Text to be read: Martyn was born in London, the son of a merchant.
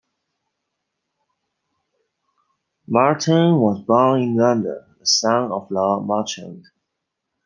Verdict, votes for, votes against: rejected, 1, 2